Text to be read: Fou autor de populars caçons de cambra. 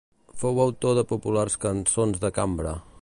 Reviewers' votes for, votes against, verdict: 1, 2, rejected